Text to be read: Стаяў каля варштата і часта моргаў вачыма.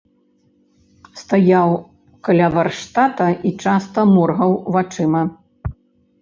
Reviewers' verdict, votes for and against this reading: accepted, 2, 0